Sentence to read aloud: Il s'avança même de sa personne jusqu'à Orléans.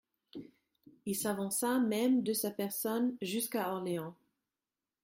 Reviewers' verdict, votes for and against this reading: accepted, 2, 0